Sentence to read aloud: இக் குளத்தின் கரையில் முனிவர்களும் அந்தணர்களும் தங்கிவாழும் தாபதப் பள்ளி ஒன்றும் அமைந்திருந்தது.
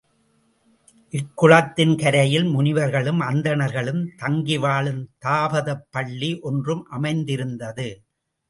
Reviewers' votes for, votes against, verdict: 2, 0, accepted